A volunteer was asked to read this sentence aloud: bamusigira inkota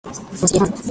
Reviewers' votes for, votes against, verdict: 0, 2, rejected